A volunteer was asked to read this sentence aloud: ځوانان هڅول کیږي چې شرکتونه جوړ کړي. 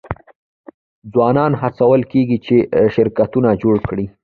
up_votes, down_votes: 0, 2